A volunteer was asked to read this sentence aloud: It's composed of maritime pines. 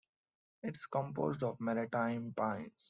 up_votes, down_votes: 1, 2